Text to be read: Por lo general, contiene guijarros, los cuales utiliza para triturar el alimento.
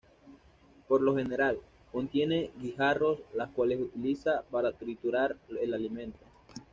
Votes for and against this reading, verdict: 2, 0, accepted